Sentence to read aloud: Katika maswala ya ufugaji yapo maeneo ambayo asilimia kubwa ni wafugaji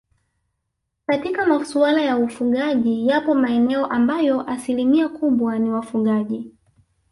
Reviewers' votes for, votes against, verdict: 2, 0, accepted